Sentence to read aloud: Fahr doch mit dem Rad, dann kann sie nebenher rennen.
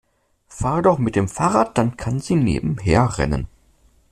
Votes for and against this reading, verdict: 1, 2, rejected